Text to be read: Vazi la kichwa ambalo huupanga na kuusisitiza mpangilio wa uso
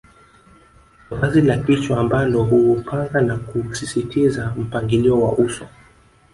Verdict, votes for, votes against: rejected, 1, 2